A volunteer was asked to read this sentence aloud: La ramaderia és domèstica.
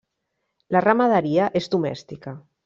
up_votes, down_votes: 3, 0